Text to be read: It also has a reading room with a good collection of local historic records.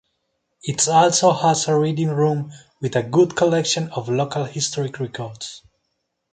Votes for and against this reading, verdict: 2, 0, accepted